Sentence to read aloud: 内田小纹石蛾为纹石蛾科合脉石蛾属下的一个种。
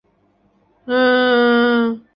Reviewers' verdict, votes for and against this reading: rejected, 0, 5